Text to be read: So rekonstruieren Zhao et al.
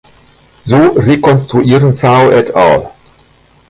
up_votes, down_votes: 1, 2